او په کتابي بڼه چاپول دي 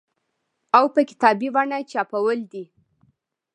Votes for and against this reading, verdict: 1, 2, rejected